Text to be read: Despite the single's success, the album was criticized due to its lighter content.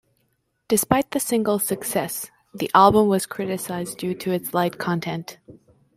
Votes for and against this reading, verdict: 1, 2, rejected